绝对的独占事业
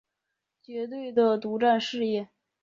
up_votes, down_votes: 2, 0